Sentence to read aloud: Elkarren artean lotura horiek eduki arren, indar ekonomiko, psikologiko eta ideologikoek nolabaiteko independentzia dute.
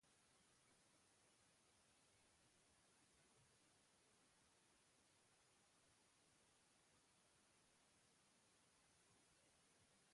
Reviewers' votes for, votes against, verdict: 0, 2, rejected